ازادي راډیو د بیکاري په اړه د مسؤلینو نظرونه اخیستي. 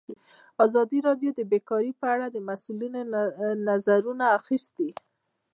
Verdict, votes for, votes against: accepted, 2, 0